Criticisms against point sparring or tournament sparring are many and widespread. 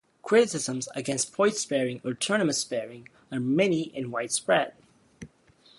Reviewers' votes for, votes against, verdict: 0, 2, rejected